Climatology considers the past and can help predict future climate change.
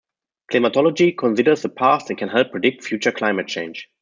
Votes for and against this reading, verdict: 2, 0, accepted